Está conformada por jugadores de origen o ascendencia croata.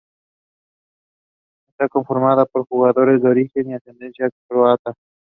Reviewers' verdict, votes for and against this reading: accepted, 4, 2